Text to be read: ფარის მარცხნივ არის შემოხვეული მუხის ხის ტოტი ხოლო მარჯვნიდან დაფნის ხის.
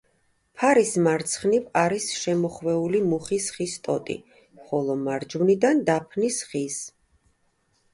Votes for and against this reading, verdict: 2, 0, accepted